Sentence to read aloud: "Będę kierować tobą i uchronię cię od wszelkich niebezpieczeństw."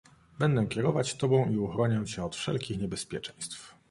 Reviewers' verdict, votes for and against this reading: accepted, 2, 0